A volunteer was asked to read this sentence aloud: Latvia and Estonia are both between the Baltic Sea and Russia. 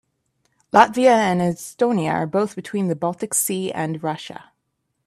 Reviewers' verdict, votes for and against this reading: accepted, 2, 0